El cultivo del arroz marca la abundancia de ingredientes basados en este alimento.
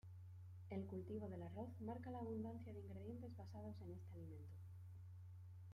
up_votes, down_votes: 2, 1